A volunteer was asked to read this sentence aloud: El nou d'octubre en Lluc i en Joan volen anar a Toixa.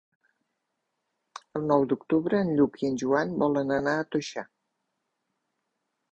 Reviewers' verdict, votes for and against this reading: rejected, 1, 3